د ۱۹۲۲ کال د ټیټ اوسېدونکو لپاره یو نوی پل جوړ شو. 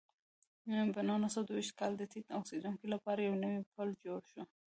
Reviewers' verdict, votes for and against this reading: rejected, 0, 2